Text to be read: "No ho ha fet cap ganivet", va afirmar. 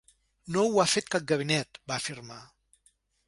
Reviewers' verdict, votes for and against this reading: rejected, 1, 2